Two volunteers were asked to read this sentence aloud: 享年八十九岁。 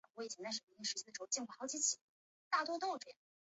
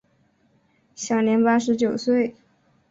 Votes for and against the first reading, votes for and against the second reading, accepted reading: 1, 2, 2, 0, second